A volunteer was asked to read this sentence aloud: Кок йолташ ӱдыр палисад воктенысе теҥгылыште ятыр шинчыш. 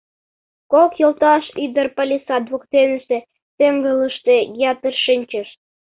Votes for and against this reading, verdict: 2, 0, accepted